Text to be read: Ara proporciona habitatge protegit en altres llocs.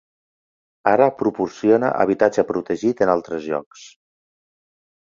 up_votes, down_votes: 4, 0